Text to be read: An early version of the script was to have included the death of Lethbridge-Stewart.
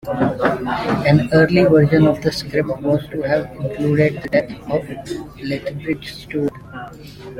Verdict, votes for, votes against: accepted, 2, 1